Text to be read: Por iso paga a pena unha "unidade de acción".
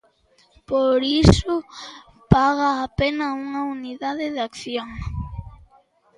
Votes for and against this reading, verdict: 2, 0, accepted